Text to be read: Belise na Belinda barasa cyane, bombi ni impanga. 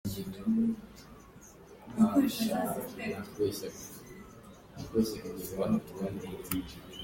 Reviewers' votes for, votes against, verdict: 0, 2, rejected